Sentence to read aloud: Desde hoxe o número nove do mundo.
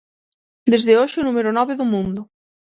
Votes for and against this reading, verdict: 6, 0, accepted